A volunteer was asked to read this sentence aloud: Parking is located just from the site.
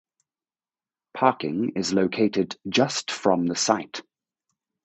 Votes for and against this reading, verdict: 4, 0, accepted